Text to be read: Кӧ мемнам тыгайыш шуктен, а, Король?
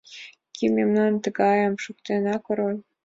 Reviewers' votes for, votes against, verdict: 2, 1, accepted